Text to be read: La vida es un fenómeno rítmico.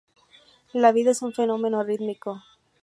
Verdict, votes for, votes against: accepted, 2, 0